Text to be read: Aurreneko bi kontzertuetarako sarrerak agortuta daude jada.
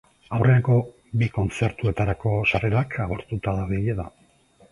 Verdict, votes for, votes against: rejected, 0, 2